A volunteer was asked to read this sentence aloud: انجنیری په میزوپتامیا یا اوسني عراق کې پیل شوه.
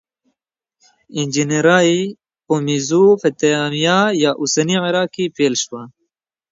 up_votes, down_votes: 1, 2